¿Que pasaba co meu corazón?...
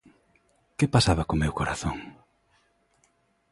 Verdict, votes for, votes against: accepted, 2, 0